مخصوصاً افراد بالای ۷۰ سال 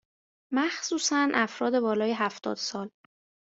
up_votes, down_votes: 0, 2